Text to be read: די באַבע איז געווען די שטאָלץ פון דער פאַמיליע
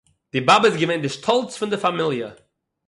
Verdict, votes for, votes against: accepted, 6, 0